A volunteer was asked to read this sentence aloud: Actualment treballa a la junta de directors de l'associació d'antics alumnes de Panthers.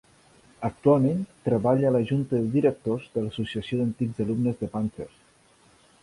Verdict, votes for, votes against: accepted, 3, 0